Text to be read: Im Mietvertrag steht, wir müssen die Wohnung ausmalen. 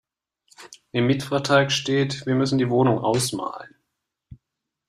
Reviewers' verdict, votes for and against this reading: accepted, 2, 0